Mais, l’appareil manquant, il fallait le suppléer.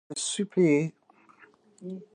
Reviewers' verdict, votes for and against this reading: rejected, 1, 2